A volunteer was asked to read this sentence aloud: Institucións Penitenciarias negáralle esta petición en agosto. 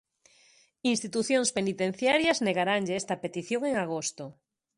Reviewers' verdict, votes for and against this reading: rejected, 0, 2